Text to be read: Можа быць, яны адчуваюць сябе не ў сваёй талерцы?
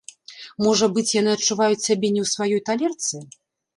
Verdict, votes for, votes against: rejected, 0, 3